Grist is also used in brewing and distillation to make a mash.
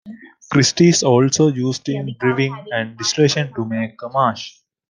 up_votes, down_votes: 2, 1